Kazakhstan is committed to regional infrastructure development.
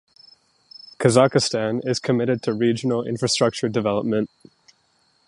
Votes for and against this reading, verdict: 2, 0, accepted